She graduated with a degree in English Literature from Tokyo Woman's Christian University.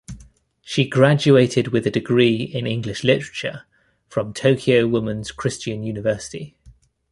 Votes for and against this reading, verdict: 1, 2, rejected